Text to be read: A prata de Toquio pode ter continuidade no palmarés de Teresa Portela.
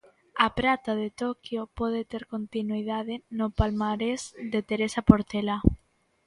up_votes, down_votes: 2, 0